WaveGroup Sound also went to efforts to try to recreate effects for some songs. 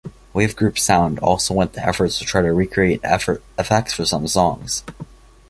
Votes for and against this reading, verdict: 1, 2, rejected